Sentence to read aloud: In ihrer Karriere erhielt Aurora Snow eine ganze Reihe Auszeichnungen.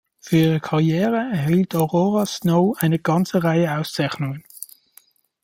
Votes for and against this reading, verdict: 1, 2, rejected